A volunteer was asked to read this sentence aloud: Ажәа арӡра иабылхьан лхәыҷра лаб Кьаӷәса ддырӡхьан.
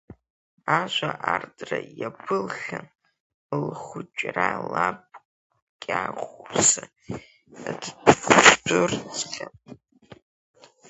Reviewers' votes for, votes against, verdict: 0, 2, rejected